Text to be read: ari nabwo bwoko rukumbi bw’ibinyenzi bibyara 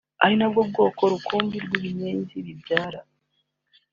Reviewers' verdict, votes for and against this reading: accepted, 3, 0